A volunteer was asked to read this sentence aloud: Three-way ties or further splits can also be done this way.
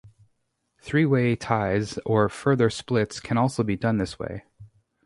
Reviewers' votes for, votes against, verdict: 4, 0, accepted